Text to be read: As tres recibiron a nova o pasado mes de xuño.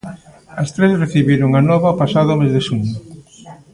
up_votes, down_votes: 2, 0